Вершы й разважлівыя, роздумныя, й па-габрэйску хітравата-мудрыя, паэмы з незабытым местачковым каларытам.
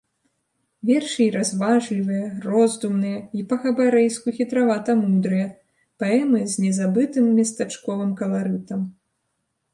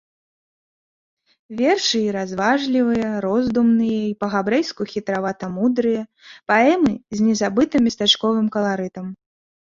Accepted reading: second